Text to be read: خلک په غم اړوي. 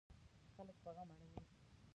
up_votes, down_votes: 0, 2